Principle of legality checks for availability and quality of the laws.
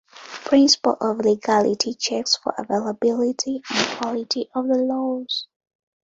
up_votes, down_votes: 2, 1